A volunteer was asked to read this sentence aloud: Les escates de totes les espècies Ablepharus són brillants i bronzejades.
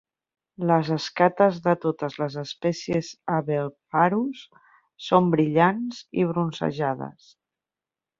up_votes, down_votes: 1, 2